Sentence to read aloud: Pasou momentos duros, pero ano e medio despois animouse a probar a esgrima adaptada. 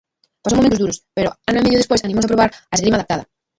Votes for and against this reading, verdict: 0, 2, rejected